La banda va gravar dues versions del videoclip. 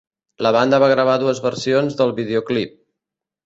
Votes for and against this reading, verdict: 2, 0, accepted